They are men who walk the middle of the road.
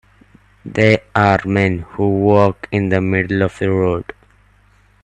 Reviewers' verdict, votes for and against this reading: rejected, 1, 2